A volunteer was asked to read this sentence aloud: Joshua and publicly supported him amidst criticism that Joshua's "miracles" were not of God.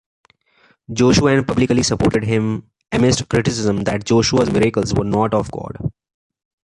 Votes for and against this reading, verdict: 0, 2, rejected